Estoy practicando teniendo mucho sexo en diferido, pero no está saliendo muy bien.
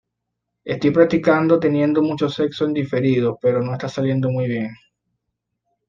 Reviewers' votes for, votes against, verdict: 2, 0, accepted